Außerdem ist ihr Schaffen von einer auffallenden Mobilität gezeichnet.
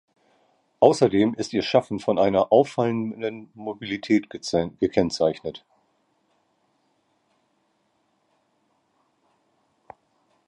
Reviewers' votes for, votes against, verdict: 0, 2, rejected